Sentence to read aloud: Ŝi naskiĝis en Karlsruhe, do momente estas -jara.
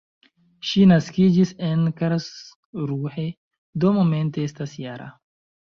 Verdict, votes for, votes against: rejected, 0, 2